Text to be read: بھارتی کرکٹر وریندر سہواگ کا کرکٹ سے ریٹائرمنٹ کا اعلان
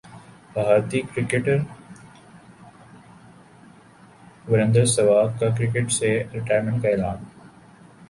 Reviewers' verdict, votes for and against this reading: accepted, 2, 0